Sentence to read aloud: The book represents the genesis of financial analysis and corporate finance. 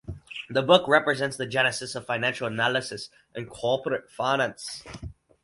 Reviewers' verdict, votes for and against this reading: accepted, 4, 0